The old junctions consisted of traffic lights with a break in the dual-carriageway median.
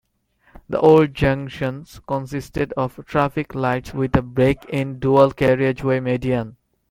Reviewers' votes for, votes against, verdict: 2, 0, accepted